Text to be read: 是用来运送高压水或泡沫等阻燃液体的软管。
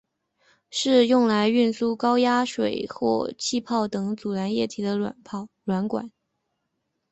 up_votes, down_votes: 2, 0